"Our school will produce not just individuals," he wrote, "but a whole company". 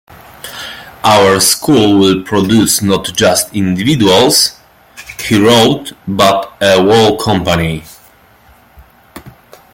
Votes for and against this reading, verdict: 1, 2, rejected